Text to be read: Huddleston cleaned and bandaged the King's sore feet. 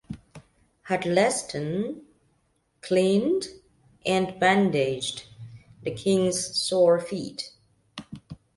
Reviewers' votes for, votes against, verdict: 2, 0, accepted